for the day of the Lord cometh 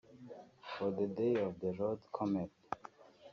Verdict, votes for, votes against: rejected, 0, 3